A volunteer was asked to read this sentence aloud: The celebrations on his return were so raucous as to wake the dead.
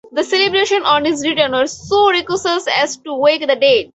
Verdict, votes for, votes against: rejected, 2, 2